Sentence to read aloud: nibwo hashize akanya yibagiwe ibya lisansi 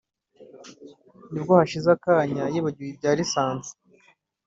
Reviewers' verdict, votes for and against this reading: rejected, 1, 2